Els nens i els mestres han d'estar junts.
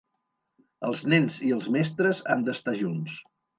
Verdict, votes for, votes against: accepted, 2, 0